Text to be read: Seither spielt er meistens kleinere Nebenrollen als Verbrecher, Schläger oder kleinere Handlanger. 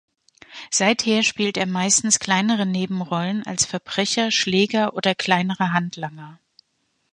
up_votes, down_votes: 2, 0